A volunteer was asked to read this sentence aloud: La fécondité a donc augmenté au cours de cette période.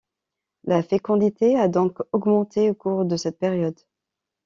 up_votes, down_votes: 2, 0